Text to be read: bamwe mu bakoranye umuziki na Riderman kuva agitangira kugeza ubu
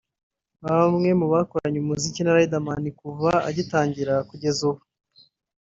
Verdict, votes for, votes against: accepted, 3, 1